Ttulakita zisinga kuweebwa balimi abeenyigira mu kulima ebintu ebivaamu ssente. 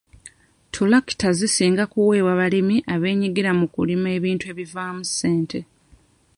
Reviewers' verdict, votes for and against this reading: accepted, 2, 0